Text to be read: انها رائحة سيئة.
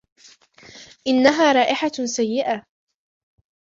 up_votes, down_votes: 1, 2